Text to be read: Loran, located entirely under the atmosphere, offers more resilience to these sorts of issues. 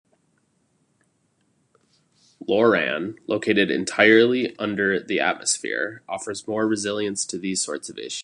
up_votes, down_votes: 0, 2